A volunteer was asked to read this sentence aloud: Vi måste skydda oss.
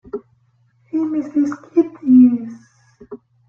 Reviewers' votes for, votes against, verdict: 0, 2, rejected